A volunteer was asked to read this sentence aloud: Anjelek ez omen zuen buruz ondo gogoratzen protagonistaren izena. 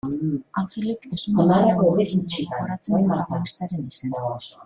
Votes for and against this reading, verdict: 0, 2, rejected